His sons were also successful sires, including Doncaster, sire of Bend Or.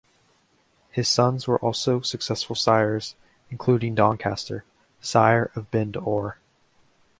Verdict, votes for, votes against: rejected, 1, 2